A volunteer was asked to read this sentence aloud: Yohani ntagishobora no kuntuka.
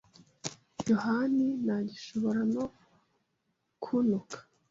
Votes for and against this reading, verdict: 3, 0, accepted